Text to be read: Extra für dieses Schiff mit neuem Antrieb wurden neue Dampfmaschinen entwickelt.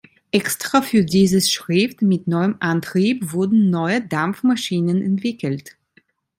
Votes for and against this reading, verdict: 2, 0, accepted